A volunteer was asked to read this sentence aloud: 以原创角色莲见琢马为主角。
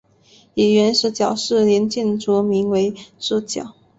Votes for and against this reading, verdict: 1, 2, rejected